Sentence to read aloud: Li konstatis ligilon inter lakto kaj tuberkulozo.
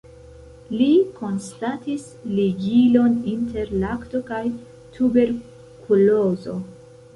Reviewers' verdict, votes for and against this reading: rejected, 1, 2